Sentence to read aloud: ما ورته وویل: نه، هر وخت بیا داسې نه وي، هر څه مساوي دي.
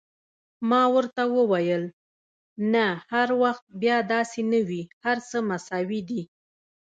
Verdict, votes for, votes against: rejected, 0, 2